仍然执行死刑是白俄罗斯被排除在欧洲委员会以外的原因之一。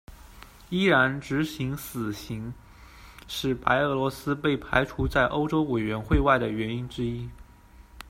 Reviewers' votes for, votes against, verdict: 0, 2, rejected